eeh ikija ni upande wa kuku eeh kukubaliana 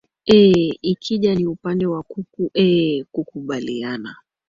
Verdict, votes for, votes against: accepted, 2, 0